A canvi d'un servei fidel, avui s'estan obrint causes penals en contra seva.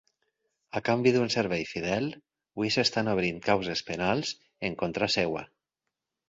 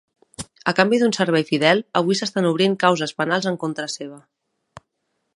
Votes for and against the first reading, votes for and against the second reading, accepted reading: 0, 4, 3, 0, second